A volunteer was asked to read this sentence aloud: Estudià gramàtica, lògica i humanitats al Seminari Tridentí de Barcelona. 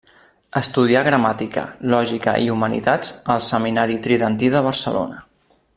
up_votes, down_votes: 3, 0